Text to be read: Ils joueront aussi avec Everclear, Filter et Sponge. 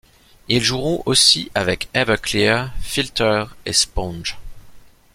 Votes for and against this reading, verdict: 2, 0, accepted